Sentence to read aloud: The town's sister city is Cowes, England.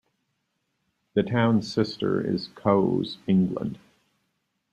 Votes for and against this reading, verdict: 0, 2, rejected